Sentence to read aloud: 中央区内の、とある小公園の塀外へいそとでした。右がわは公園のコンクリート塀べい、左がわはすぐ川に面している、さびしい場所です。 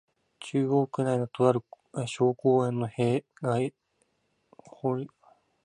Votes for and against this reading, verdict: 0, 2, rejected